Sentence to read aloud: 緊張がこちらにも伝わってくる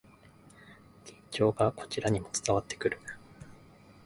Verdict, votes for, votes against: accepted, 4, 1